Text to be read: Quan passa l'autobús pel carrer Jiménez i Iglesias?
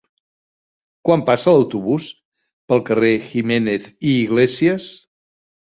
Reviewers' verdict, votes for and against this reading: accepted, 3, 0